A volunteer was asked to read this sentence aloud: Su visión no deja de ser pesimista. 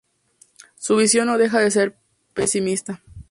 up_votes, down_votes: 4, 0